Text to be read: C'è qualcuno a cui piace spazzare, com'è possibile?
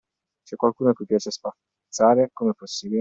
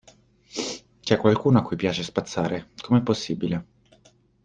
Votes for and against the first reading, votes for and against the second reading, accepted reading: 1, 2, 2, 0, second